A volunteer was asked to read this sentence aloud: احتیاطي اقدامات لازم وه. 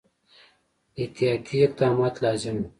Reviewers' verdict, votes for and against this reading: accepted, 2, 0